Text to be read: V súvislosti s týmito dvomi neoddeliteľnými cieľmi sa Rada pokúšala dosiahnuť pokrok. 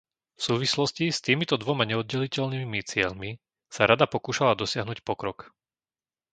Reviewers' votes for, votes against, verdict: 0, 2, rejected